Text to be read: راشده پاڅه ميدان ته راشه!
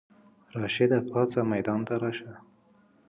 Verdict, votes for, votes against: accepted, 2, 0